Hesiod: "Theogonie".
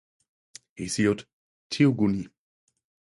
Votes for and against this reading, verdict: 4, 0, accepted